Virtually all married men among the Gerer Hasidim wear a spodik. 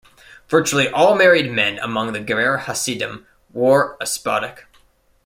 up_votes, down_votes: 1, 2